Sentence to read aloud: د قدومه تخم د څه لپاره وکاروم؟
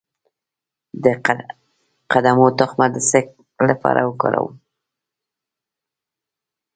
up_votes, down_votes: 2, 0